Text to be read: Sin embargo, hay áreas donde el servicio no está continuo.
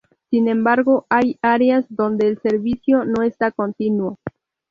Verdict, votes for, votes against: rejected, 2, 2